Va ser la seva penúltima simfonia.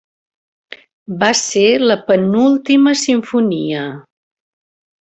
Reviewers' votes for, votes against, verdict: 0, 2, rejected